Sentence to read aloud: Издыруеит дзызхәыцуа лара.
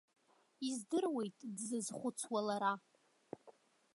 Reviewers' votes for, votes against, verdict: 2, 0, accepted